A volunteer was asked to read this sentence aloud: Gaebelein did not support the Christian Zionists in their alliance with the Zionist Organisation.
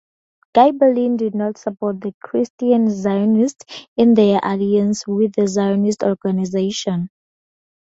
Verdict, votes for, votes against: accepted, 2, 0